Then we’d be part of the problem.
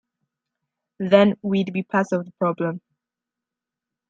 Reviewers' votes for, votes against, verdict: 2, 0, accepted